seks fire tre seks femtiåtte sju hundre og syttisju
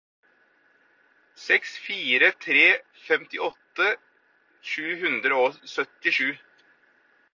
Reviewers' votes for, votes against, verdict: 0, 4, rejected